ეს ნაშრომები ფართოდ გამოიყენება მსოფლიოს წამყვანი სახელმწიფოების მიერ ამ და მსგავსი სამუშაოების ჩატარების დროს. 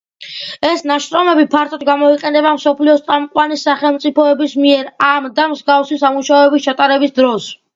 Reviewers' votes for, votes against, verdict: 2, 0, accepted